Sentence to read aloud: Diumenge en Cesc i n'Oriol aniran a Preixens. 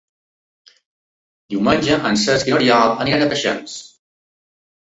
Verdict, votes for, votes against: rejected, 0, 2